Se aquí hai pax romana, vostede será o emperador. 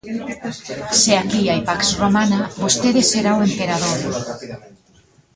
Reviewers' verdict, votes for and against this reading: rejected, 1, 2